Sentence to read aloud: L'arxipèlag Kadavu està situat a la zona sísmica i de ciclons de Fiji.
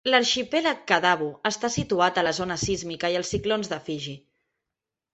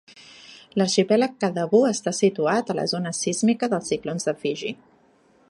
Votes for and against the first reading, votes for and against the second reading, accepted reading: 1, 2, 2, 1, second